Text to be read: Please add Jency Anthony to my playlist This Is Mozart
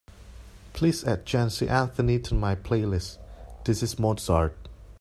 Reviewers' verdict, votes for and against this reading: accepted, 2, 0